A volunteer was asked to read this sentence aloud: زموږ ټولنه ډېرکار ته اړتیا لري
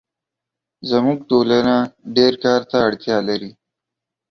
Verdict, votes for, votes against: accepted, 2, 0